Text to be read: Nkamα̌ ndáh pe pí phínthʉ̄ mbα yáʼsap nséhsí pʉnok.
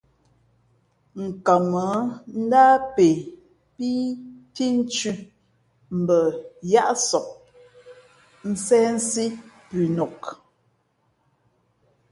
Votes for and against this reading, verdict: 3, 0, accepted